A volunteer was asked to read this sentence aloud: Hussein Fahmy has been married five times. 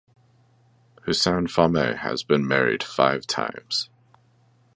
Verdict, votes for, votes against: accepted, 2, 0